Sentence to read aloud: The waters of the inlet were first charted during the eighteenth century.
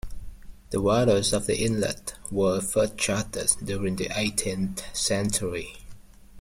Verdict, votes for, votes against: rejected, 0, 2